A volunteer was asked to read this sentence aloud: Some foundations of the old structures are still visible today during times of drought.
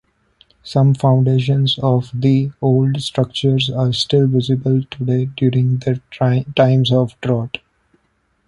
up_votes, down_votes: 2, 1